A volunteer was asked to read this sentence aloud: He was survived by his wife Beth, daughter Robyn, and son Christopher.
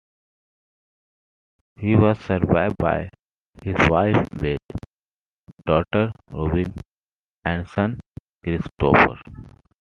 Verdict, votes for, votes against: rejected, 0, 2